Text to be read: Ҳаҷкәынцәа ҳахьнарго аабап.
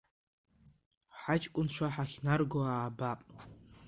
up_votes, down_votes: 2, 1